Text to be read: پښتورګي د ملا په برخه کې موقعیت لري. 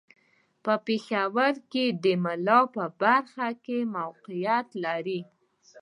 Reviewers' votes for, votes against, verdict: 1, 2, rejected